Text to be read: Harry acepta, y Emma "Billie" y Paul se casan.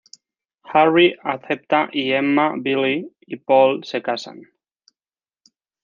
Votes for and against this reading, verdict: 1, 2, rejected